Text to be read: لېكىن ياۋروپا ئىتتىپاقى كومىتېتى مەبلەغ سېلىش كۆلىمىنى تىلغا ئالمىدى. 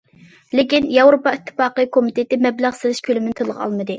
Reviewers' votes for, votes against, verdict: 2, 0, accepted